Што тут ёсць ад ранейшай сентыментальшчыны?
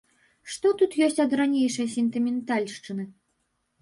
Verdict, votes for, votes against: accepted, 2, 0